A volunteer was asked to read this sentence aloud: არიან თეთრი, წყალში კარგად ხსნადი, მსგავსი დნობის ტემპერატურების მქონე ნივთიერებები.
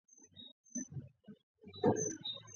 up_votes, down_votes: 0, 2